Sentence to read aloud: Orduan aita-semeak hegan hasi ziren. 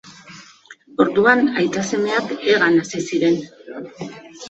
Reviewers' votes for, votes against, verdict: 2, 0, accepted